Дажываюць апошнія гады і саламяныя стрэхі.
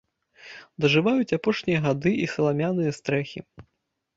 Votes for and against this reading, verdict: 2, 0, accepted